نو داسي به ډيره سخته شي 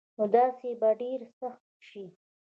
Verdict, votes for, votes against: accepted, 3, 0